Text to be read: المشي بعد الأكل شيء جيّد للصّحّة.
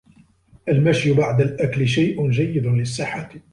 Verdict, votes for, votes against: rejected, 1, 2